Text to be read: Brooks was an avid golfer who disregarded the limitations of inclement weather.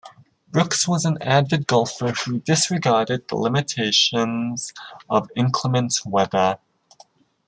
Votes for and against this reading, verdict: 1, 2, rejected